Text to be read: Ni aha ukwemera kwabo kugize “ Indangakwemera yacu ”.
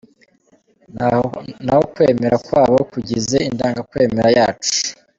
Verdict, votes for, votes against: rejected, 1, 2